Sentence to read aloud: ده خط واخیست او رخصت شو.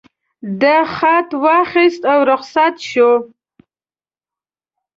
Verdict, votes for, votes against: accepted, 2, 0